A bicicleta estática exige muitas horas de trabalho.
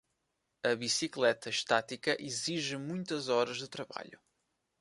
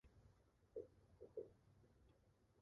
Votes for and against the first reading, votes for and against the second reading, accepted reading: 2, 0, 0, 2, first